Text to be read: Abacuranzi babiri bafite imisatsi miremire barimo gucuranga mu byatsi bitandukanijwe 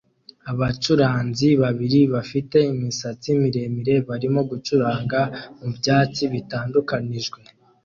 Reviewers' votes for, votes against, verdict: 2, 0, accepted